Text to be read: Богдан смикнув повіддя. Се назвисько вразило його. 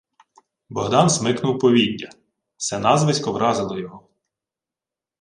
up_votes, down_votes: 2, 0